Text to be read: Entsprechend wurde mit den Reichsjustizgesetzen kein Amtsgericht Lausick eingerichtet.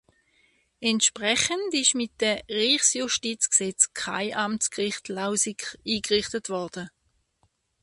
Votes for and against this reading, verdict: 0, 2, rejected